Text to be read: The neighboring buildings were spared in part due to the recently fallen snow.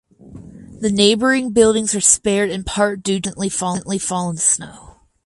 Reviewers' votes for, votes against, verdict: 0, 2, rejected